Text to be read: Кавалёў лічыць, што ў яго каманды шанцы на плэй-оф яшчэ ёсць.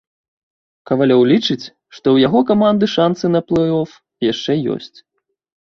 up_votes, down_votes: 2, 0